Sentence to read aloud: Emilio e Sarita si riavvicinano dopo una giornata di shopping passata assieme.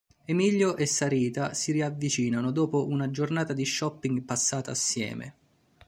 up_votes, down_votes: 2, 0